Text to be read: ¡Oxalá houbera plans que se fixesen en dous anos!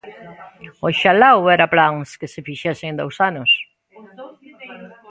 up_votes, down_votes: 2, 1